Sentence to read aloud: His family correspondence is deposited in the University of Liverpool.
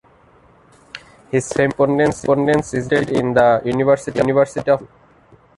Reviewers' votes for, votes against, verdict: 0, 2, rejected